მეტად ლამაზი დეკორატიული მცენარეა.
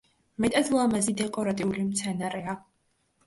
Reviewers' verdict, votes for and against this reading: accepted, 2, 0